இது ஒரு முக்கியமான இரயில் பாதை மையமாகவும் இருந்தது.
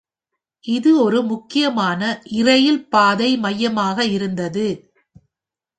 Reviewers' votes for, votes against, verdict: 2, 3, rejected